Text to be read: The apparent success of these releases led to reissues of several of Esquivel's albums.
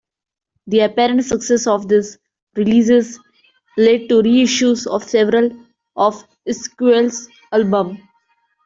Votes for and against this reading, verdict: 0, 3, rejected